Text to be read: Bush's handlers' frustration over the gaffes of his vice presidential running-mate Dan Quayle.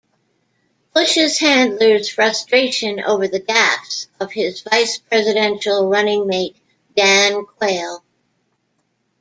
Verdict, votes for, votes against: accepted, 2, 1